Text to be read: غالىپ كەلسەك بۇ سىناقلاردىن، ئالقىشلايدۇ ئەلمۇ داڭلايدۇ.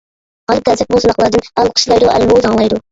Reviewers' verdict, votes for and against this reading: rejected, 0, 2